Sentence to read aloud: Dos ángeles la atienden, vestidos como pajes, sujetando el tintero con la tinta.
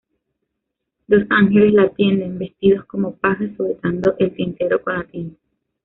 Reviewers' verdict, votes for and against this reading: accepted, 2, 1